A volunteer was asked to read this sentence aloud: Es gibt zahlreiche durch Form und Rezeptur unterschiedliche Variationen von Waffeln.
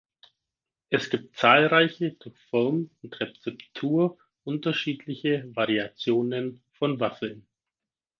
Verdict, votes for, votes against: rejected, 2, 4